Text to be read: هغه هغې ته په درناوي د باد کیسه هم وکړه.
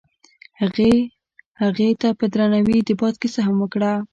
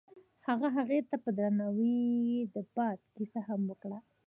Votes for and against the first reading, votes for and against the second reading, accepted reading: 1, 2, 2, 0, second